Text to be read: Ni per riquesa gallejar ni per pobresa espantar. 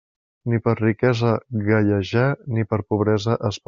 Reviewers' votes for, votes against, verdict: 0, 2, rejected